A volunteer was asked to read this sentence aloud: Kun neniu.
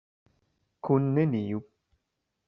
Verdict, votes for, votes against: rejected, 1, 2